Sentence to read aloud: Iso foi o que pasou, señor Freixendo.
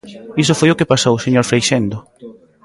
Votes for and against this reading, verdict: 2, 0, accepted